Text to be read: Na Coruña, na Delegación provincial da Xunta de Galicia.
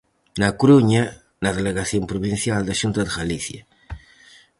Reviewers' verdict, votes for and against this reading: accepted, 4, 0